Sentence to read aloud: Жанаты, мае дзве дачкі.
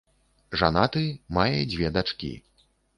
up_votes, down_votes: 2, 0